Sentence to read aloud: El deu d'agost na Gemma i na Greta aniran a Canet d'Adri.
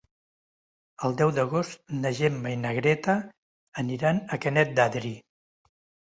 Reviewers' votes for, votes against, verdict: 2, 0, accepted